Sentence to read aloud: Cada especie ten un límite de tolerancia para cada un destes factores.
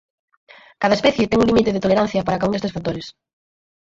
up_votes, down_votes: 0, 4